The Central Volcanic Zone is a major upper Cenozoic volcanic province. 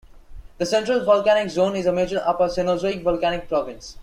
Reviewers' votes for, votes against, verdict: 2, 1, accepted